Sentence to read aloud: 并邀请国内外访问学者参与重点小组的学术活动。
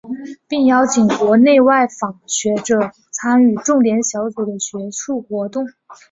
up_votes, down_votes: 1, 2